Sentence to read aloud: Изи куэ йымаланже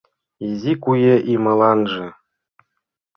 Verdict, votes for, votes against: rejected, 1, 2